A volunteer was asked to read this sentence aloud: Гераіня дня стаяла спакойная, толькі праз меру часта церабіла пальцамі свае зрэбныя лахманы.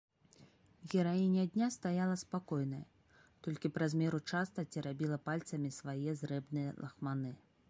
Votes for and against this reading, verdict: 2, 0, accepted